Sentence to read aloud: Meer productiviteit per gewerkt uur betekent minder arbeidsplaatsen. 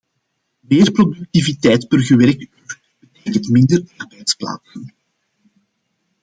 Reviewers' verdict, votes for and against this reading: rejected, 0, 2